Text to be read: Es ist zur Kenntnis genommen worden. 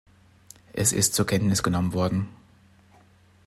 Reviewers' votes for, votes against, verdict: 2, 0, accepted